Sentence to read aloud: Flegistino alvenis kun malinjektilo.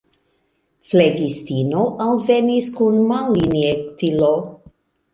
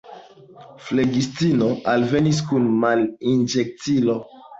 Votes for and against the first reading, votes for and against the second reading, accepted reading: 3, 1, 0, 2, first